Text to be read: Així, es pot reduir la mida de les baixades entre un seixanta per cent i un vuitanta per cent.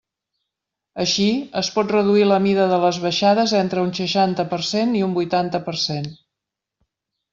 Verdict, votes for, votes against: accepted, 3, 0